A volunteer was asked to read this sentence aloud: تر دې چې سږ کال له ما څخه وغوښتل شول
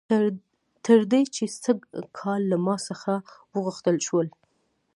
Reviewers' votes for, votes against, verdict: 2, 0, accepted